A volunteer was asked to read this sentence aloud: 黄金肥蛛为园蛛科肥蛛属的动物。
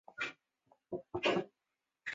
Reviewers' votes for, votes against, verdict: 1, 2, rejected